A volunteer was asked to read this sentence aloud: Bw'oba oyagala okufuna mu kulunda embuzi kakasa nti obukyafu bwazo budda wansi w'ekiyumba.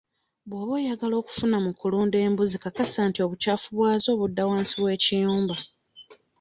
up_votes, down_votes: 2, 0